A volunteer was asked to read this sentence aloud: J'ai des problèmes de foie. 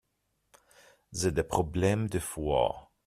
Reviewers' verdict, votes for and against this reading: rejected, 1, 2